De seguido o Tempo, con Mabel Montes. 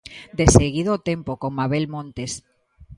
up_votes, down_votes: 2, 0